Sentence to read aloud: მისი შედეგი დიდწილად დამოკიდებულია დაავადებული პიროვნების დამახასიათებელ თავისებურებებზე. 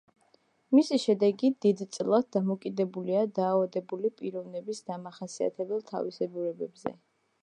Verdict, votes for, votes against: rejected, 1, 2